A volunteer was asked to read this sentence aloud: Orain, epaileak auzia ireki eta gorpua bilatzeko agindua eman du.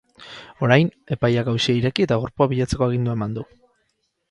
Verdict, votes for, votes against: accepted, 8, 4